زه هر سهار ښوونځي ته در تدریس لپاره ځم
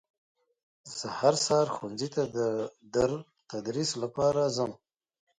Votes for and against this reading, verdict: 2, 0, accepted